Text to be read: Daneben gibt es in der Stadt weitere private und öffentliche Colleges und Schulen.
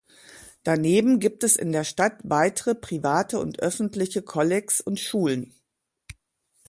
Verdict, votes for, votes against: rejected, 1, 2